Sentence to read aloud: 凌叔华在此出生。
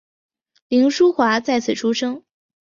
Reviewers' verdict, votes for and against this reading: accepted, 2, 0